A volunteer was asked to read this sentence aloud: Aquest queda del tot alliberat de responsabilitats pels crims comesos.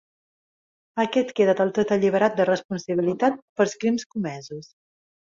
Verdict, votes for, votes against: rejected, 1, 2